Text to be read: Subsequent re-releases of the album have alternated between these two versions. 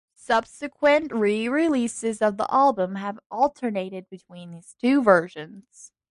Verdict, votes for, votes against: accepted, 2, 0